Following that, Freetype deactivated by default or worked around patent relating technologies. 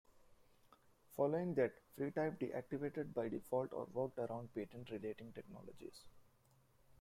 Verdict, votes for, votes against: accepted, 2, 1